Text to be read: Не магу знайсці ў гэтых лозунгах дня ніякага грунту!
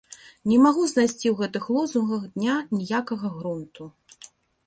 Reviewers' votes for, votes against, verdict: 2, 0, accepted